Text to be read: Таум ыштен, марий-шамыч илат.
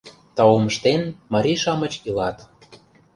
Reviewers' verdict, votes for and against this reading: accepted, 2, 0